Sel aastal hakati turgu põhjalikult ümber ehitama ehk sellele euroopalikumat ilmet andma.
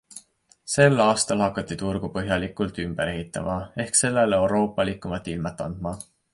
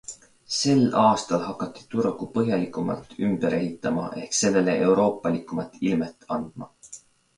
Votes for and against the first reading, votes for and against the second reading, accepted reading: 2, 0, 1, 2, first